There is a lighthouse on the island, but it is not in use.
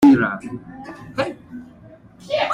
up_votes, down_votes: 1, 2